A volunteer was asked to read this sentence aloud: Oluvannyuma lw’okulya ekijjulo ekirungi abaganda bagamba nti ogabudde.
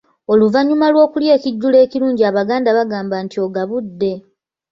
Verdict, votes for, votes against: rejected, 0, 2